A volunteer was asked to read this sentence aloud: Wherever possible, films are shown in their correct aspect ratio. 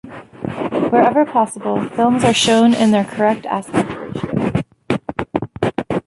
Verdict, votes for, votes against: rejected, 0, 2